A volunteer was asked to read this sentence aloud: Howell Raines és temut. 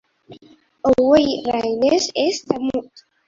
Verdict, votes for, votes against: rejected, 0, 2